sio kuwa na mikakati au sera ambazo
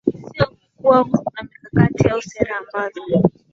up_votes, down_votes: 3, 1